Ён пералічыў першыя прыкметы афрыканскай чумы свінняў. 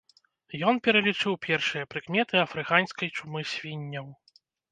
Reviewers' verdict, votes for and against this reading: rejected, 1, 2